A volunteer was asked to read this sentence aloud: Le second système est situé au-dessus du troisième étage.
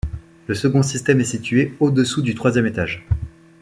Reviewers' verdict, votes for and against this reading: rejected, 0, 2